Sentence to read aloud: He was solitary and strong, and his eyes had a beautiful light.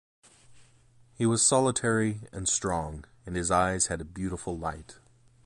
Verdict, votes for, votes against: accepted, 2, 0